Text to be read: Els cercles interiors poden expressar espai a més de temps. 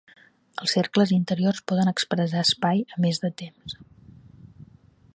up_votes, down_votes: 3, 0